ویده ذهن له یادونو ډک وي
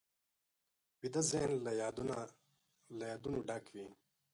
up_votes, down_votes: 1, 2